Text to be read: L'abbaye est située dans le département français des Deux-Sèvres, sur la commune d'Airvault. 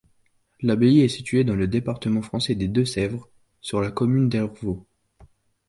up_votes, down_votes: 2, 0